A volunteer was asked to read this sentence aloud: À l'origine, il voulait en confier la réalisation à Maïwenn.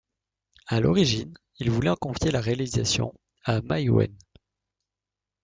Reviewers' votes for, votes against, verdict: 2, 0, accepted